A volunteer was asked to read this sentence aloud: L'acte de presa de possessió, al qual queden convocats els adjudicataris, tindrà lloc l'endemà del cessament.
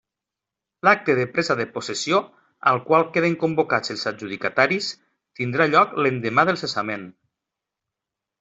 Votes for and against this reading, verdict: 3, 1, accepted